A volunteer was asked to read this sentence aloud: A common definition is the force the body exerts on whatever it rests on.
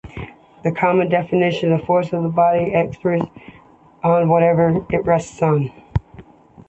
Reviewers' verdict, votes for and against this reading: rejected, 0, 2